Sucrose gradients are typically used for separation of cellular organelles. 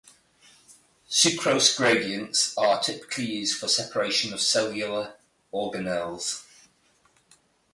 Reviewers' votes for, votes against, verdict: 2, 0, accepted